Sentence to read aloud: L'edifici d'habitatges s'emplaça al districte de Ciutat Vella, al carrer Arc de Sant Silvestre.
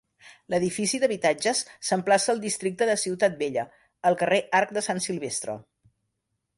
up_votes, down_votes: 3, 0